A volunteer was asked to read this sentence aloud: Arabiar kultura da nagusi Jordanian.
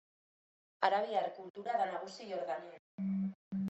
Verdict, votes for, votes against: accepted, 2, 0